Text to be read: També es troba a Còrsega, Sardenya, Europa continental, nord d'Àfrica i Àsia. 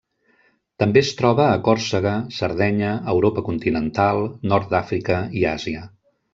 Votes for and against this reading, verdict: 2, 0, accepted